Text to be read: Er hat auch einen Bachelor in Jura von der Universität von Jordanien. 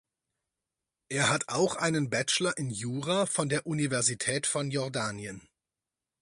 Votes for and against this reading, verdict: 4, 0, accepted